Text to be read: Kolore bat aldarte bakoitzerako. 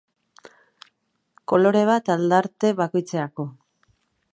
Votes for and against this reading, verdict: 2, 0, accepted